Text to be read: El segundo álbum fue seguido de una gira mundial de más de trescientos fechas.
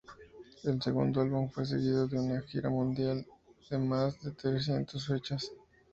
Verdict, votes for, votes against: accepted, 2, 0